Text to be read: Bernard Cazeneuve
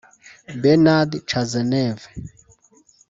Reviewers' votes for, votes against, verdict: 0, 2, rejected